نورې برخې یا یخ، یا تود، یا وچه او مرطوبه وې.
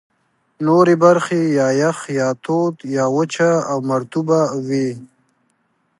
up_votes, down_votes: 3, 0